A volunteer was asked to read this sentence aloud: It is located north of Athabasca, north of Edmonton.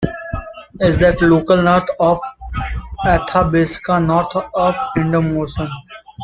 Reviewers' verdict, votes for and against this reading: rejected, 1, 2